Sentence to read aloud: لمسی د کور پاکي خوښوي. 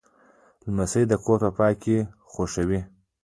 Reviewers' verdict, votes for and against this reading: rejected, 1, 2